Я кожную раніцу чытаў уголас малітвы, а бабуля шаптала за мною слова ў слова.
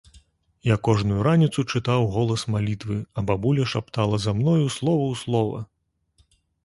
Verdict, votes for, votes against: accepted, 3, 0